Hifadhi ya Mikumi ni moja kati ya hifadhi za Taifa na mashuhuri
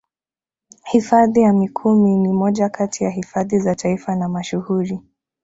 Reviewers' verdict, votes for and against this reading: accepted, 2, 0